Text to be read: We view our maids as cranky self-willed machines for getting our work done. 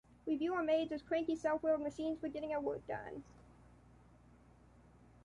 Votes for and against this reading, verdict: 2, 0, accepted